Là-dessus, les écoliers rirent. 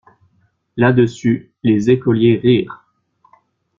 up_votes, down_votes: 2, 0